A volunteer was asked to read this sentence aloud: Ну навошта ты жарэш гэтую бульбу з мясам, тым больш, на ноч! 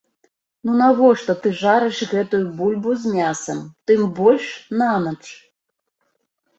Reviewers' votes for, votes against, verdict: 2, 1, accepted